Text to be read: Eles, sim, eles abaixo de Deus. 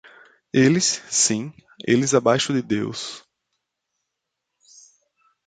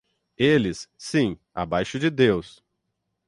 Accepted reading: first